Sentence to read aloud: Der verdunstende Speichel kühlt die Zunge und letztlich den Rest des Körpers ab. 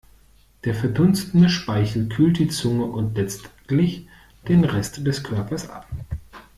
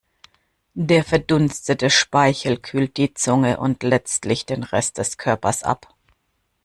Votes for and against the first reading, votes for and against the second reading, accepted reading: 2, 0, 1, 2, first